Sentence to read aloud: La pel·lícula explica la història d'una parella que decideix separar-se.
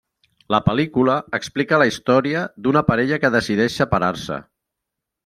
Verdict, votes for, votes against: accepted, 3, 0